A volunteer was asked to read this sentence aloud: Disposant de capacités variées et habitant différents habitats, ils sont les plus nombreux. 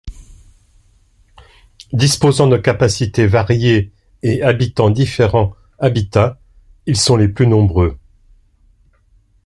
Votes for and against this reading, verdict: 2, 0, accepted